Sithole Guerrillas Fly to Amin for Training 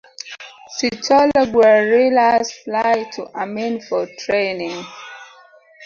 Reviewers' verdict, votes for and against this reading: rejected, 0, 3